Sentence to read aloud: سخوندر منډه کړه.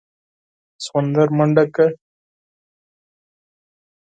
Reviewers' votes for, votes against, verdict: 4, 0, accepted